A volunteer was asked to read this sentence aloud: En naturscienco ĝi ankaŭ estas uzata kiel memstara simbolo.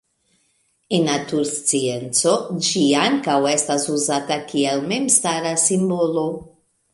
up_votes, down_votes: 2, 1